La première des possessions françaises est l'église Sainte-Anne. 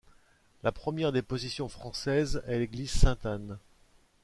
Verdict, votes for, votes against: rejected, 0, 2